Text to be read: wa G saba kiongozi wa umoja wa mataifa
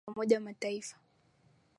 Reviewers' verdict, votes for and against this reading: rejected, 0, 2